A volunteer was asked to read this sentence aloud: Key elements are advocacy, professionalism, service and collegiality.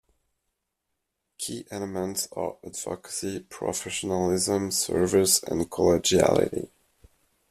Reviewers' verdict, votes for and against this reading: accepted, 2, 0